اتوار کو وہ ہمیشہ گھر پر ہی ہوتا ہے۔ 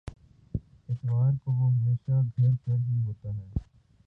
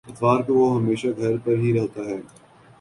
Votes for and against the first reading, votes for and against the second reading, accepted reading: 2, 2, 10, 0, second